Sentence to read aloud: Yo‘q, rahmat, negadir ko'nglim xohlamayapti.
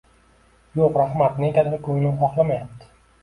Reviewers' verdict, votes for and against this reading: accepted, 2, 0